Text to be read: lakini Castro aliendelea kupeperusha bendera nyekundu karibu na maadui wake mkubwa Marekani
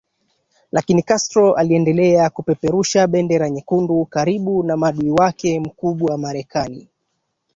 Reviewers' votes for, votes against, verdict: 2, 1, accepted